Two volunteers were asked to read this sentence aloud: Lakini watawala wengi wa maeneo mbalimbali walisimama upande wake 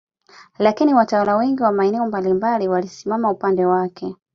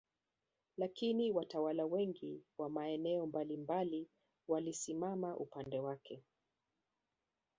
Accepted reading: first